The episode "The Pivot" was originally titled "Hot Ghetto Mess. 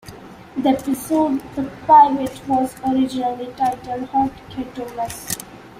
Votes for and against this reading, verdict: 2, 0, accepted